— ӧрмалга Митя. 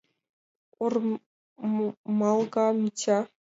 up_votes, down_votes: 0, 2